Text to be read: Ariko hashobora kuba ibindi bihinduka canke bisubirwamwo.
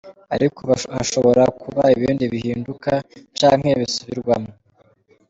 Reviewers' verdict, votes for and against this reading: accepted, 2, 1